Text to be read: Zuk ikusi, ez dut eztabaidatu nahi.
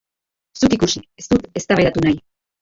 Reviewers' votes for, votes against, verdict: 0, 2, rejected